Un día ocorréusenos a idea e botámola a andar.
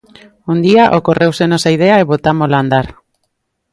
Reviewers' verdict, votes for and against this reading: accepted, 2, 0